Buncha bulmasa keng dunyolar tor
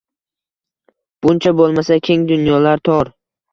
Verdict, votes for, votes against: accepted, 2, 0